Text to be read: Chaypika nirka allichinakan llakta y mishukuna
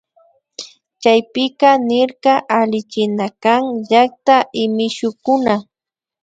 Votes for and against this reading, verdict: 2, 0, accepted